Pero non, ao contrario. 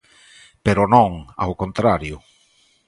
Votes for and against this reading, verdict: 2, 0, accepted